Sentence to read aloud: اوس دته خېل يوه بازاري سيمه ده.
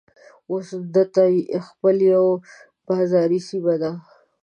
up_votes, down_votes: 0, 2